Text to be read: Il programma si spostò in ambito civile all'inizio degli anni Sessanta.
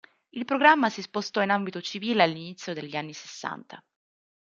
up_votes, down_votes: 2, 0